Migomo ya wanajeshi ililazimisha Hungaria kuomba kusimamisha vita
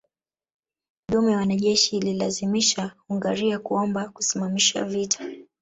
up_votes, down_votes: 0, 2